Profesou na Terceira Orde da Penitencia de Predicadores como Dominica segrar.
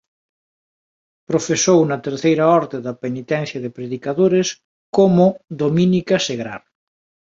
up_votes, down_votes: 1, 2